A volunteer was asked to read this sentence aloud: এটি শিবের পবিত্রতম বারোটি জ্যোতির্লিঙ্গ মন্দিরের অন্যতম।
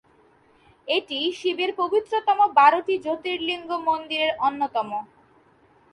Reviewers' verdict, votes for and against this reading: accepted, 2, 0